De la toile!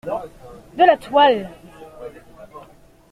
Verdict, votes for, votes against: accepted, 2, 1